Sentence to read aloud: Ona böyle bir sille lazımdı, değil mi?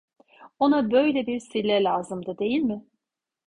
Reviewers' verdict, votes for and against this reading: accepted, 2, 0